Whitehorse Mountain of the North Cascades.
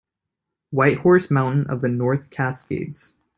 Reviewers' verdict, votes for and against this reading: accepted, 2, 0